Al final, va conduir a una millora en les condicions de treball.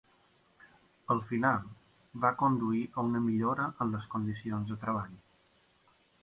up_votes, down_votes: 3, 0